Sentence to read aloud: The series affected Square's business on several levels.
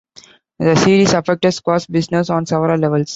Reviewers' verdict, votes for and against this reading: accepted, 2, 0